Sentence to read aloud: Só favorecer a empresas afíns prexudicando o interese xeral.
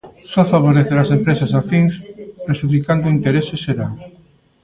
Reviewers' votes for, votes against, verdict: 1, 2, rejected